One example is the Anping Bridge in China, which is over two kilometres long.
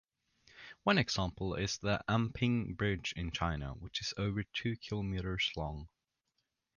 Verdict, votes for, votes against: accepted, 2, 0